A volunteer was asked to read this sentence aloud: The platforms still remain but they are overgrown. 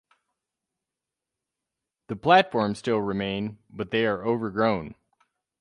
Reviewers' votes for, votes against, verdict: 4, 0, accepted